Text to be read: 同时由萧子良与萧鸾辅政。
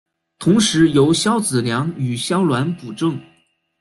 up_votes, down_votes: 1, 2